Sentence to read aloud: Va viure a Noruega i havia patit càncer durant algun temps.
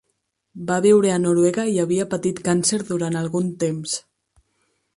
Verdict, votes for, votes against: accepted, 4, 0